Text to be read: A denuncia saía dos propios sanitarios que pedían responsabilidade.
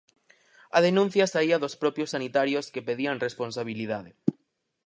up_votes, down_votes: 4, 0